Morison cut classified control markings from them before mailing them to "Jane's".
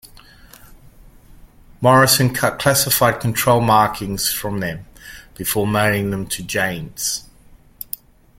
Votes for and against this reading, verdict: 2, 0, accepted